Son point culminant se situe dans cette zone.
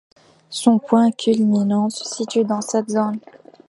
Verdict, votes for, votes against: accepted, 2, 0